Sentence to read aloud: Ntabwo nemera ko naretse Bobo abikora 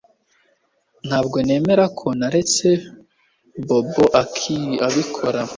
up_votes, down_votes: 1, 2